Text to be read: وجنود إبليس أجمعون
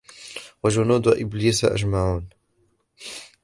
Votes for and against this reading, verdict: 0, 2, rejected